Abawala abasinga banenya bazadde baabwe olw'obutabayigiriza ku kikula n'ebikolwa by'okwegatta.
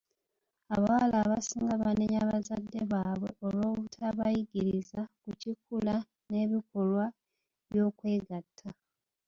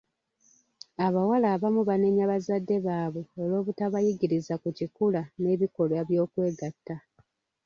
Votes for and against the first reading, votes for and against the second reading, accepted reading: 2, 1, 1, 2, first